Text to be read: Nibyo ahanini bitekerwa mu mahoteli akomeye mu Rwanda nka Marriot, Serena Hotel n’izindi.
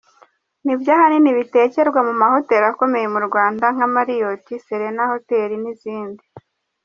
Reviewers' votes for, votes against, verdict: 2, 0, accepted